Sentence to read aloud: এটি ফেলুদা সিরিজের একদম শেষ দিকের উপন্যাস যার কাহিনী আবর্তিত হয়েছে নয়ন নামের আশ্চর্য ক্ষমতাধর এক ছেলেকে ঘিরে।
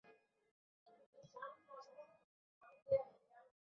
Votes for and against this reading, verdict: 0, 2, rejected